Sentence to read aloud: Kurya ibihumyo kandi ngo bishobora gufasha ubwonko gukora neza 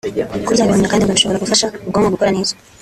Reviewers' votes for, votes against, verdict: 1, 2, rejected